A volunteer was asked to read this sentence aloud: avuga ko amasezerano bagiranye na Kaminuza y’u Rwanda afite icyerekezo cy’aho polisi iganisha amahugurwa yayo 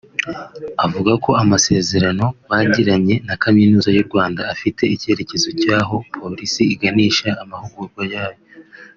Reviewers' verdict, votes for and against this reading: accepted, 3, 0